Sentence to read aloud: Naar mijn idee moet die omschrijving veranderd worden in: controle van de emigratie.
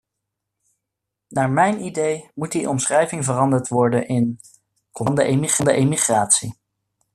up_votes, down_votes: 0, 2